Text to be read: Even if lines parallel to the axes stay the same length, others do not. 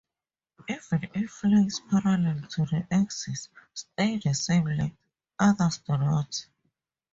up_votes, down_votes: 2, 2